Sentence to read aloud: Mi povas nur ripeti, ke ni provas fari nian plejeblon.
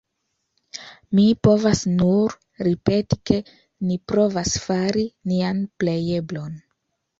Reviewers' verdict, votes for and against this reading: accepted, 2, 1